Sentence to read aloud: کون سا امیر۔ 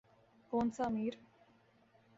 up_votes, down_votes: 2, 0